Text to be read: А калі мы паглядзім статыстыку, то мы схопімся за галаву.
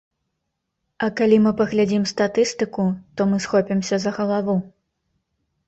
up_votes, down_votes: 2, 0